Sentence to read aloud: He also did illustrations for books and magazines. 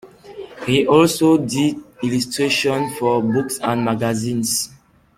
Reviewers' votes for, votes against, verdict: 0, 2, rejected